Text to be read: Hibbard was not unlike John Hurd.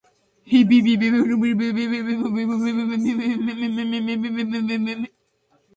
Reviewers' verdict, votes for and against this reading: rejected, 0, 2